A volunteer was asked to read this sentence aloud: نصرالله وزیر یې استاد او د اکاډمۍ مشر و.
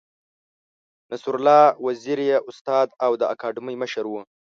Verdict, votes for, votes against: accepted, 2, 0